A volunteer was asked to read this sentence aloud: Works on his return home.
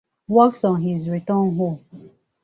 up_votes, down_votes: 2, 2